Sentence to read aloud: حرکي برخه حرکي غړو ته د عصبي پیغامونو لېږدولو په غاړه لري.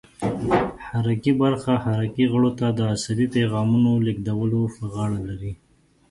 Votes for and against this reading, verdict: 0, 2, rejected